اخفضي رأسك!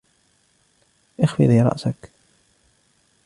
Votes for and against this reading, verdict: 2, 0, accepted